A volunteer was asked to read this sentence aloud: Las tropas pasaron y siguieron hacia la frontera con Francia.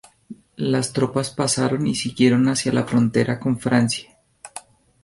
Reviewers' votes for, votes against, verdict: 2, 0, accepted